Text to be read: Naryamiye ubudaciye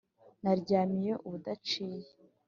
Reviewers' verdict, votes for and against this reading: accepted, 2, 0